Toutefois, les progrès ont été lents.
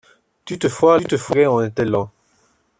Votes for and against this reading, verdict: 0, 2, rejected